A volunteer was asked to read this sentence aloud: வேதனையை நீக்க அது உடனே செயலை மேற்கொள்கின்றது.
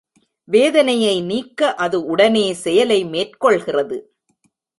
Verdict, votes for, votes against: rejected, 0, 2